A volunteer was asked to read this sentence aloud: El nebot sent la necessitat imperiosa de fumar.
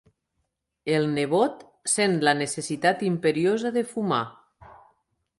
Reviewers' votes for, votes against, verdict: 3, 0, accepted